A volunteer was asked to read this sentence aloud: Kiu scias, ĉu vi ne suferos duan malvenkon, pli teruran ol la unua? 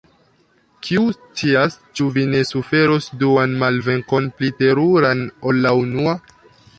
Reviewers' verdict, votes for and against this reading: rejected, 1, 2